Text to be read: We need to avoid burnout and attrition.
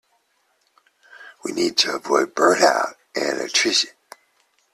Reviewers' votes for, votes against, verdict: 2, 0, accepted